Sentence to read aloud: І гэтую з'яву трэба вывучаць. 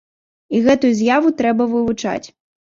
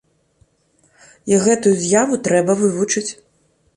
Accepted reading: first